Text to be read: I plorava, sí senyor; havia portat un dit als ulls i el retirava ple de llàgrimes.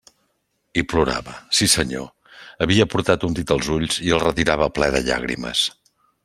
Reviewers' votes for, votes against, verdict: 3, 0, accepted